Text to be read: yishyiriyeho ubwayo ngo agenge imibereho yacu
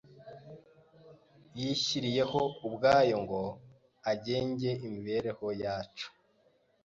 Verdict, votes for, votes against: accepted, 2, 0